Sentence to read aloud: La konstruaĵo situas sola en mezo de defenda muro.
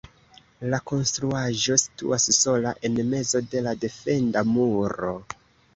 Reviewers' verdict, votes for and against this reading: rejected, 1, 2